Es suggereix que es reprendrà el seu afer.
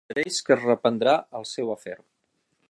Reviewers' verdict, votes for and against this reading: rejected, 0, 6